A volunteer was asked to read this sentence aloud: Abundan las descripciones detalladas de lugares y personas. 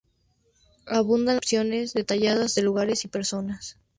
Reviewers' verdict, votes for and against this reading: rejected, 0, 2